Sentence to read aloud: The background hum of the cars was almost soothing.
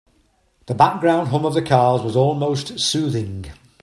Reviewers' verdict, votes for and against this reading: accepted, 2, 0